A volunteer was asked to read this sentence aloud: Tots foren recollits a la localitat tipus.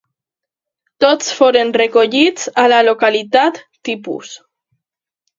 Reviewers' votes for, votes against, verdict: 2, 0, accepted